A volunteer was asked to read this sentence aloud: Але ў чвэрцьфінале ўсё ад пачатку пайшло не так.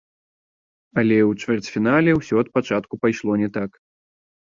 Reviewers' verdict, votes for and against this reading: rejected, 1, 2